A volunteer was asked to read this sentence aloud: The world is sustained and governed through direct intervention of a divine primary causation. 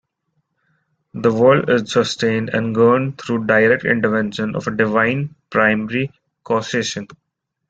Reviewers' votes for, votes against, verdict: 0, 2, rejected